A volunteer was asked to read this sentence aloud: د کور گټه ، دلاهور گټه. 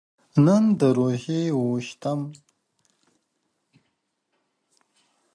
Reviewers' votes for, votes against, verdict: 0, 2, rejected